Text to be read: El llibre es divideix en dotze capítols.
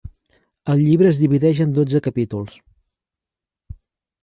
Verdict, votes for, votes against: accepted, 3, 0